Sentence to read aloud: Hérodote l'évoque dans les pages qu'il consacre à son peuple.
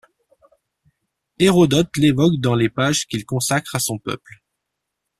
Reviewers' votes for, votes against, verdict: 2, 0, accepted